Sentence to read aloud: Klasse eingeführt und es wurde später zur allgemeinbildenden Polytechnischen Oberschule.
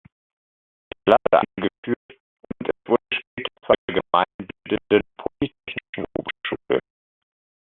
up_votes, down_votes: 0, 2